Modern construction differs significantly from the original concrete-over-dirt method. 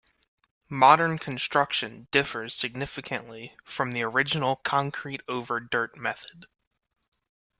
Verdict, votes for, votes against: accepted, 3, 0